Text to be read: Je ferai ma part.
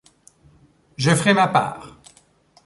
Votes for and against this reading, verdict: 2, 0, accepted